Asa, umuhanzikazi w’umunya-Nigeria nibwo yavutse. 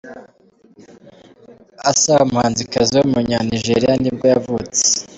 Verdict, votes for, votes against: accepted, 2, 0